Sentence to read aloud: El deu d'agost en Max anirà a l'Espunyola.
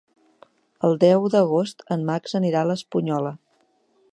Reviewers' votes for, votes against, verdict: 4, 0, accepted